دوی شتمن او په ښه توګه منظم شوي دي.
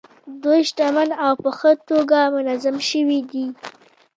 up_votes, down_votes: 1, 2